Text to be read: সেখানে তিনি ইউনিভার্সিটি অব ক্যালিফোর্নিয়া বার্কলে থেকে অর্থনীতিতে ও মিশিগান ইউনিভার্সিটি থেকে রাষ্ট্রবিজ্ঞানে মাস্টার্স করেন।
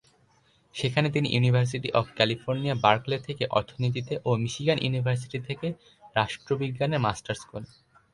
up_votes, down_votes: 2, 0